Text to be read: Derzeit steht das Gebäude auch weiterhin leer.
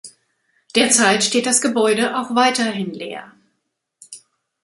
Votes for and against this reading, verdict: 2, 0, accepted